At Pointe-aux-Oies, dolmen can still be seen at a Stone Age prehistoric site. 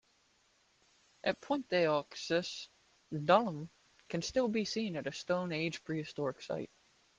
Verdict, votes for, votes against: rejected, 1, 2